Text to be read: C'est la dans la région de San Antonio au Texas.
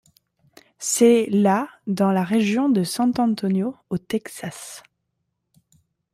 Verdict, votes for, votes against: rejected, 1, 2